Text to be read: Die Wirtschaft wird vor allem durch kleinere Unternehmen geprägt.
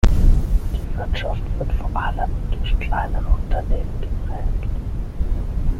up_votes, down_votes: 3, 6